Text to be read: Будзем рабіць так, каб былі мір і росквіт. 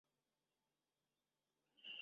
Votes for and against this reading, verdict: 0, 2, rejected